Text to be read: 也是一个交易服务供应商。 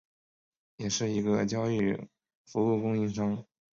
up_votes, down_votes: 1, 3